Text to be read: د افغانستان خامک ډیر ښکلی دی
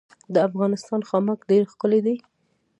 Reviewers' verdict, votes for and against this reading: rejected, 0, 2